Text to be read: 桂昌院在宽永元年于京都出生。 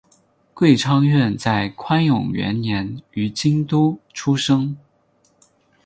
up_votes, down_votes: 2, 0